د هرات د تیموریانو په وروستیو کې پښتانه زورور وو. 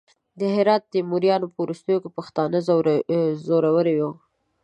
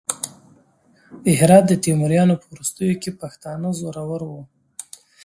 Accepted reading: second